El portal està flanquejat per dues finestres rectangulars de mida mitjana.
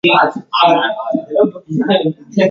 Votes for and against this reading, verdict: 0, 2, rejected